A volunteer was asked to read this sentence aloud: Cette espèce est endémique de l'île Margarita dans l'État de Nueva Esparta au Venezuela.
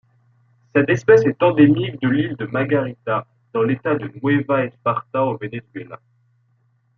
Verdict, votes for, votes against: rejected, 1, 2